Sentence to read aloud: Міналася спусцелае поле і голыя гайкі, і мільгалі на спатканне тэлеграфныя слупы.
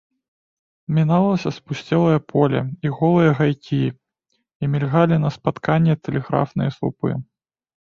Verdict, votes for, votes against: accepted, 2, 0